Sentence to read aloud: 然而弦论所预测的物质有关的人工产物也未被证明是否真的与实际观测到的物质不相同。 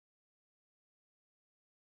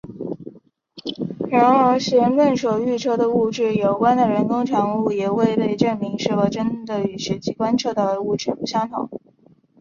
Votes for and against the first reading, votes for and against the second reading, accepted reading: 0, 2, 4, 0, second